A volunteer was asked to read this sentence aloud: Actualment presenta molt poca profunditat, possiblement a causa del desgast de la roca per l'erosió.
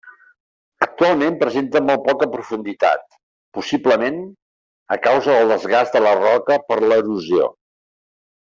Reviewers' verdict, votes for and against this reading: accepted, 3, 0